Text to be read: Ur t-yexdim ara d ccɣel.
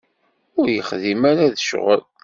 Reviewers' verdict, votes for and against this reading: accepted, 2, 0